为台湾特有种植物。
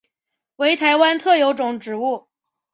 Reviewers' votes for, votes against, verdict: 2, 0, accepted